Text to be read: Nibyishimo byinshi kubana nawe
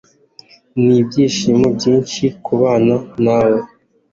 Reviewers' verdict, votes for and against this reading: accepted, 2, 0